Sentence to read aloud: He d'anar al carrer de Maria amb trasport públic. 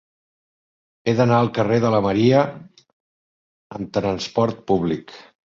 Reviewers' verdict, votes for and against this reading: rejected, 0, 2